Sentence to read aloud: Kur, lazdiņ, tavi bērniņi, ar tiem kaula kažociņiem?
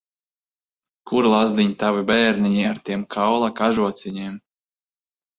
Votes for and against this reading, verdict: 4, 1, accepted